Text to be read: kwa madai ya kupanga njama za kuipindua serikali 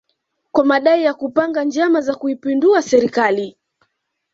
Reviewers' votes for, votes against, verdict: 2, 0, accepted